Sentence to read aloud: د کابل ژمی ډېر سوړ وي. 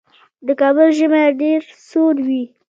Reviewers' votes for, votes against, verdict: 2, 1, accepted